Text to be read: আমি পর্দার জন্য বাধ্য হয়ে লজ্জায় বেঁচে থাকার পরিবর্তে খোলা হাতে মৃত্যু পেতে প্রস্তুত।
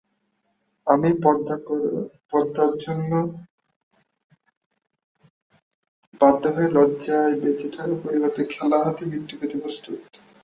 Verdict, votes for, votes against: rejected, 0, 2